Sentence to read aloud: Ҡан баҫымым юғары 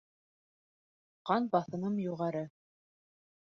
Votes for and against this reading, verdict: 3, 0, accepted